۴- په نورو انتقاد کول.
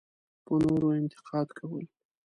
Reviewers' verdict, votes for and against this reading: rejected, 0, 2